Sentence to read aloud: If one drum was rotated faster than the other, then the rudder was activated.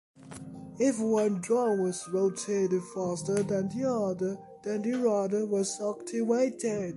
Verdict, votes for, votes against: accepted, 2, 1